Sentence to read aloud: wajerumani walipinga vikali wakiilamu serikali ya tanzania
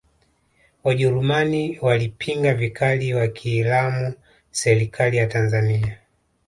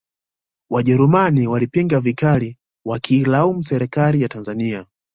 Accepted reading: second